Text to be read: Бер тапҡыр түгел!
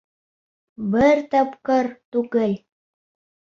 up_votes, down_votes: 3, 0